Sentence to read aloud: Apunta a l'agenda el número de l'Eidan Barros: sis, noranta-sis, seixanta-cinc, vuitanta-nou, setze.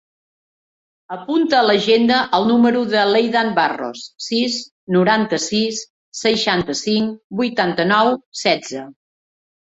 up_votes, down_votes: 3, 0